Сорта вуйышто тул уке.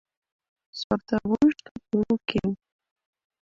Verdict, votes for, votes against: rejected, 0, 2